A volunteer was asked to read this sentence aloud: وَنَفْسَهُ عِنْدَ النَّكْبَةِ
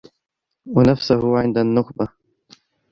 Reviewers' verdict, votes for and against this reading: rejected, 1, 2